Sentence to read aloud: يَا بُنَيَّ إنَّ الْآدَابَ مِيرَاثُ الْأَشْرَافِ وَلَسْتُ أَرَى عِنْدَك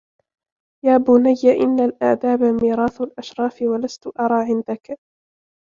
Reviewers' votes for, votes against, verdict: 2, 0, accepted